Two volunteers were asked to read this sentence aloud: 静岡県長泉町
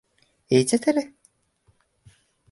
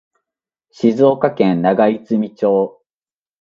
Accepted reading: second